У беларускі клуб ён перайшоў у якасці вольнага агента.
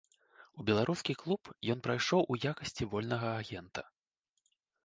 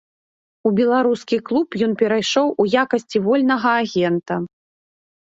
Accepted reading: second